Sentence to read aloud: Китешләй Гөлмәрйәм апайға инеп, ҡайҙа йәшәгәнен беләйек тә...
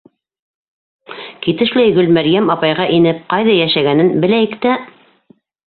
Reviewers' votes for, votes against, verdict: 2, 0, accepted